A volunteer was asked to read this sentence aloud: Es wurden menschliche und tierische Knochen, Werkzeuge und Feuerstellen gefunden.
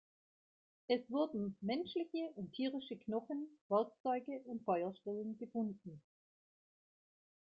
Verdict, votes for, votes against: rejected, 1, 2